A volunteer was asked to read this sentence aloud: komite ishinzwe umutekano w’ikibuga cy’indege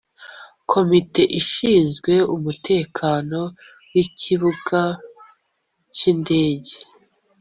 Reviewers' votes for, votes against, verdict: 2, 0, accepted